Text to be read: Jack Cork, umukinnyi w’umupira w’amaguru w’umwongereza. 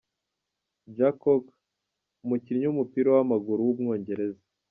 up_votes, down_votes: 1, 2